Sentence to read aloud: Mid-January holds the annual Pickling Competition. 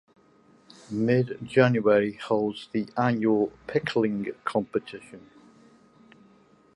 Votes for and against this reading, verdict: 2, 0, accepted